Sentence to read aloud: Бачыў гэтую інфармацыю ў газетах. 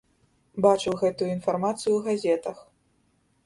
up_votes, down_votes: 2, 0